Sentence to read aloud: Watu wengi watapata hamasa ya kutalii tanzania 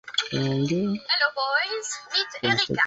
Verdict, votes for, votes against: rejected, 1, 2